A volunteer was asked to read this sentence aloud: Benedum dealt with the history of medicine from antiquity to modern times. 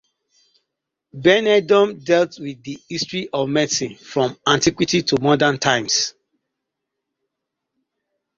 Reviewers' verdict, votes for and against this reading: accepted, 2, 0